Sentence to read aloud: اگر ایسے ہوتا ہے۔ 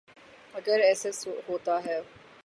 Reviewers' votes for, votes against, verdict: 0, 3, rejected